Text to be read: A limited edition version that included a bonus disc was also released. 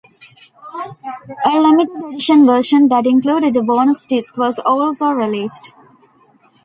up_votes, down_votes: 2, 0